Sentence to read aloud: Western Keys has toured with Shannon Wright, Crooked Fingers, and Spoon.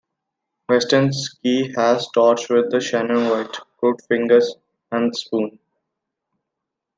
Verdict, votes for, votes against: accepted, 2, 1